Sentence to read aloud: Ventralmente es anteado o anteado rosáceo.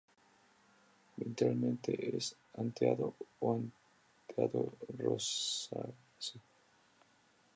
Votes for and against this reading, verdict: 2, 0, accepted